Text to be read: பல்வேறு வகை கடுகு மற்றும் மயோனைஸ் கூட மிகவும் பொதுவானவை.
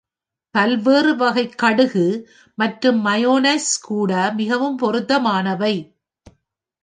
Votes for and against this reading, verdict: 1, 2, rejected